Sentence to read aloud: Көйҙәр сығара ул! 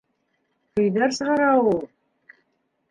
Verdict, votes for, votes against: rejected, 0, 2